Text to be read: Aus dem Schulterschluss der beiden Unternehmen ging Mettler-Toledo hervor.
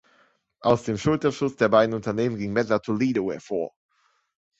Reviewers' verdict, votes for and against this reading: rejected, 1, 2